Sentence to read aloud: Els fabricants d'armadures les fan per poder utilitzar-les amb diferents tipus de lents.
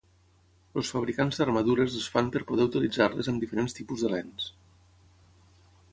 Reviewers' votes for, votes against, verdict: 0, 6, rejected